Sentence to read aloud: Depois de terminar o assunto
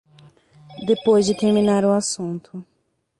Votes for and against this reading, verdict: 0, 3, rejected